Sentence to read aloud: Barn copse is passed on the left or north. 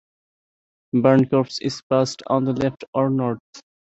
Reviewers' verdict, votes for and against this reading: accepted, 3, 0